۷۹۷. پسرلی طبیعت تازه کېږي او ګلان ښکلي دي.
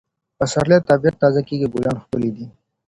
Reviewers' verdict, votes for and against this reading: rejected, 0, 2